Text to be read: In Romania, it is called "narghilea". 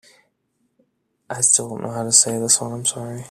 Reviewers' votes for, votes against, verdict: 0, 2, rejected